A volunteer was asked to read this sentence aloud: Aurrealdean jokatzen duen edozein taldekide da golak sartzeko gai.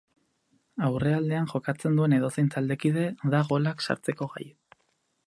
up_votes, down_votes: 4, 0